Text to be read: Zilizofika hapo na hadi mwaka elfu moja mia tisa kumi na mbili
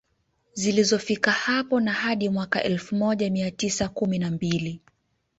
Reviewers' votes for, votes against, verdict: 2, 0, accepted